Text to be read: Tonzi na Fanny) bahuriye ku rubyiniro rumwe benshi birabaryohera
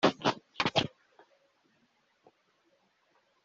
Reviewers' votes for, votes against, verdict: 0, 4, rejected